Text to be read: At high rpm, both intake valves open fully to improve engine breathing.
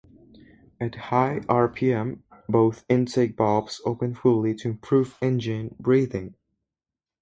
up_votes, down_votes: 2, 2